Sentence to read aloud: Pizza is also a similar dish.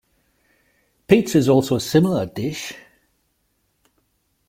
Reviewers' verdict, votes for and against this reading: rejected, 0, 2